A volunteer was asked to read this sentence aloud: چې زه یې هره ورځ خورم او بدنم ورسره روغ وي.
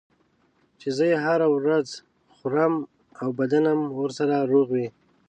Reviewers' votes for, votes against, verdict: 3, 0, accepted